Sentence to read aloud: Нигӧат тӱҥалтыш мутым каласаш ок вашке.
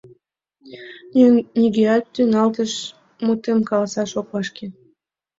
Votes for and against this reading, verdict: 1, 2, rejected